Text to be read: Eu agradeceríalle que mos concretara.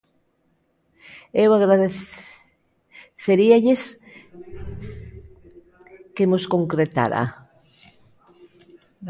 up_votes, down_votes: 0, 2